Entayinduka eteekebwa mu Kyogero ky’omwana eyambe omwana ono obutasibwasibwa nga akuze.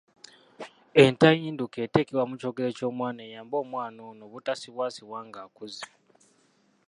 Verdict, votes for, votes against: accepted, 2, 0